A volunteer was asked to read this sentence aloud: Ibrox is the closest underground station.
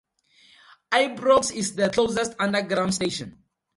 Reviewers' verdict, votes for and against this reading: accepted, 4, 0